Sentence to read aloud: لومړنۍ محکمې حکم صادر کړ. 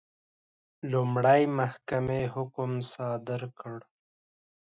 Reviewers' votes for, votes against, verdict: 1, 2, rejected